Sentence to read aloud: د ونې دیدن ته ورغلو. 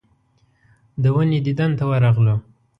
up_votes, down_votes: 2, 0